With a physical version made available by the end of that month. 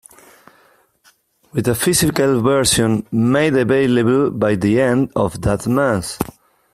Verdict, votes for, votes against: accepted, 2, 1